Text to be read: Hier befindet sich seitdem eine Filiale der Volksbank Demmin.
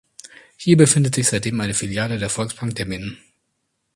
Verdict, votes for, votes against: accepted, 2, 0